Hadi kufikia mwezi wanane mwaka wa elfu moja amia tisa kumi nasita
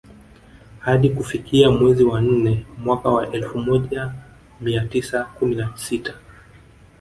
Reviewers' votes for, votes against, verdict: 2, 3, rejected